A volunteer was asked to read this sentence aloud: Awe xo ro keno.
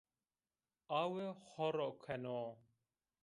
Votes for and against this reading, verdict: 0, 2, rejected